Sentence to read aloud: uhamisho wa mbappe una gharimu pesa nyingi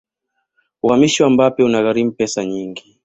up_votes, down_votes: 2, 0